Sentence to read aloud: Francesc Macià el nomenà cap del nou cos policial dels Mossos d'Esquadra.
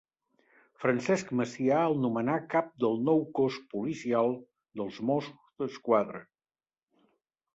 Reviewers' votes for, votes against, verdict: 1, 2, rejected